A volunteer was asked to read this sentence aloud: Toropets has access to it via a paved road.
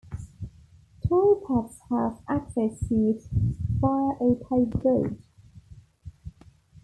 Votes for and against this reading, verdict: 1, 2, rejected